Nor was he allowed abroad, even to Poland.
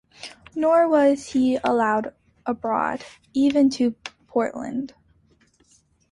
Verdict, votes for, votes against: accepted, 2, 1